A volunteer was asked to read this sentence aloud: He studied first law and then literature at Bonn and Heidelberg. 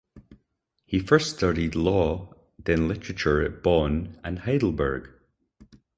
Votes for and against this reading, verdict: 2, 4, rejected